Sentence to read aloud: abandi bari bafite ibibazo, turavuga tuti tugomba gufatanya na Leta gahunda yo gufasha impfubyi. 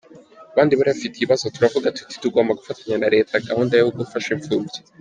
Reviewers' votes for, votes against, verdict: 2, 1, accepted